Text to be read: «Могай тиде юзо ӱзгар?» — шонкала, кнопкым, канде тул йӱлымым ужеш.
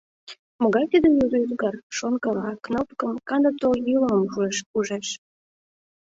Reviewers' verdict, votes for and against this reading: rejected, 0, 2